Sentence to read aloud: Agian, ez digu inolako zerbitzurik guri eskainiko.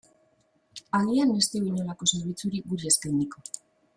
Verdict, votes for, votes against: rejected, 1, 3